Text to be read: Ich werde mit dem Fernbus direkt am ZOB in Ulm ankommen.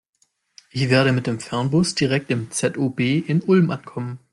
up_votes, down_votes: 0, 2